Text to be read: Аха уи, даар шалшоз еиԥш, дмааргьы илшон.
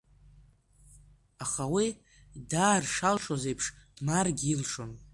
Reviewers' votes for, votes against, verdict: 2, 0, accepted